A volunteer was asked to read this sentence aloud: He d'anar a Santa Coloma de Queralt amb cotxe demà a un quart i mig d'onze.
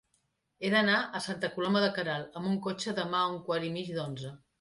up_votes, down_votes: 1, 2